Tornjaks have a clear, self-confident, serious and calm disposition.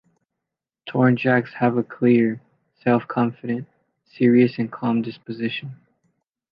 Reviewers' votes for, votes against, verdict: 2, 0, accepted